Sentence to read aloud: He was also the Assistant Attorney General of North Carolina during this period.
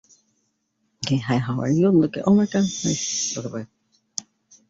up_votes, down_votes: 0, 2